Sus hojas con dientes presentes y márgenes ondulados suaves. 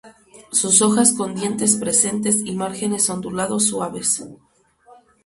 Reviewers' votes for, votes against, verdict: 2, 2, rejected